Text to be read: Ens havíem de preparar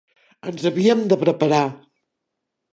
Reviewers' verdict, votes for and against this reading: accepted, 3, 0